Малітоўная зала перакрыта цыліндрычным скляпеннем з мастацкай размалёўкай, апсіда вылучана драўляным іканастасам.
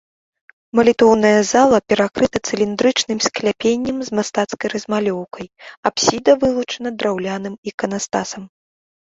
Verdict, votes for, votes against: accepted, 2, 0